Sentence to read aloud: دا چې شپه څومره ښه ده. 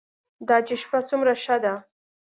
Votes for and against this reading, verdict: 2, 0, accepted